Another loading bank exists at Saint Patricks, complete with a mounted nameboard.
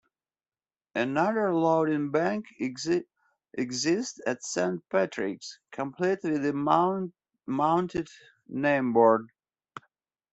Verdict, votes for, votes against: rejected, 1, 2